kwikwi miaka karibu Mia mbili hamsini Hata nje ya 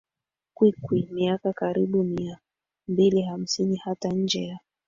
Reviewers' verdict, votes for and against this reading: rejected, 2, 3